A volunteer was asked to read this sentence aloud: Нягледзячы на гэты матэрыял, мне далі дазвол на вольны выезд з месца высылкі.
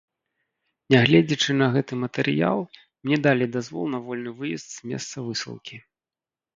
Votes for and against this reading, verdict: 2, 0, accepted